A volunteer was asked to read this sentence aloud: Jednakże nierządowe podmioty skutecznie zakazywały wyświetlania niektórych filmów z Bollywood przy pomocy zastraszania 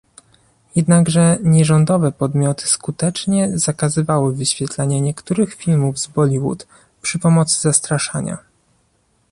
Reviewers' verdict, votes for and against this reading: rejected, 0, 2